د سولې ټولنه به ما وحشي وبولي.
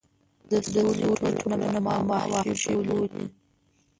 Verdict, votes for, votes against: rejected, 1, 2